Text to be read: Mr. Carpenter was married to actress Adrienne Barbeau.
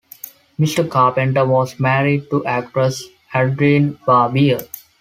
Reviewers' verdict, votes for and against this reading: accepted, 2, 1